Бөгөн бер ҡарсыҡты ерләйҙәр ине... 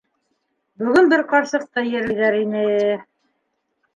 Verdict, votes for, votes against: rejected, 1, 2